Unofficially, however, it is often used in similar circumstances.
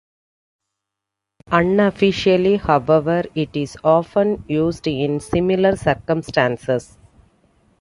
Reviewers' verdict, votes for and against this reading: accepted, 2, 1